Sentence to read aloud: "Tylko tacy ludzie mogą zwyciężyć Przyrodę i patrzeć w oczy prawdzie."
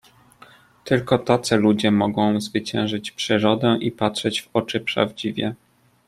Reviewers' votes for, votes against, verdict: 0, 2, rejected